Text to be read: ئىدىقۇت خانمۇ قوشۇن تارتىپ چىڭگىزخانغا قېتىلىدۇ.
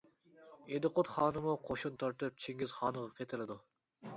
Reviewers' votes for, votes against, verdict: 0, 2, rejected